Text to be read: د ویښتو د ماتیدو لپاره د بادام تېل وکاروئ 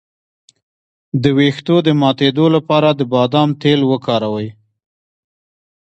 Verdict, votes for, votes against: rejected, 1, 2